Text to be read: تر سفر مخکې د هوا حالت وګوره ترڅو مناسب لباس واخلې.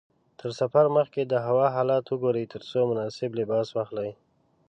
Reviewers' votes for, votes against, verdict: 0, 2, rejected